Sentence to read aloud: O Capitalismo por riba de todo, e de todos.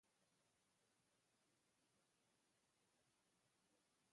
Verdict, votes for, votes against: rejected, 0, 2